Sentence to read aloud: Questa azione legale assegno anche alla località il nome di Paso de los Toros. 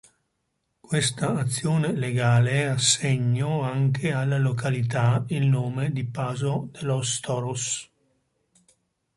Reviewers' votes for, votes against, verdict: 2, 0, accepted